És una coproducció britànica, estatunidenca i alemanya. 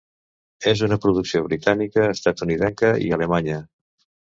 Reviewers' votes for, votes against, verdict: 0, 2, rejected